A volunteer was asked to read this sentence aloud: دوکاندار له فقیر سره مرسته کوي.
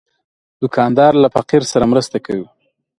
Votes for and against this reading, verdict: 2, 0, accepted